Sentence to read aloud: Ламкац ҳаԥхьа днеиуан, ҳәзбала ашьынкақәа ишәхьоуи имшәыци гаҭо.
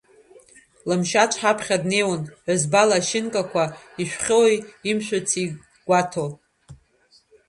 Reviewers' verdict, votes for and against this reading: rejected, 0, 2